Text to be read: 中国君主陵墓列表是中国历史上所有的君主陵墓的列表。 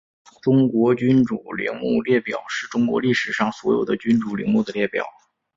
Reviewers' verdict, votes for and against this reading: rejected, 0, 2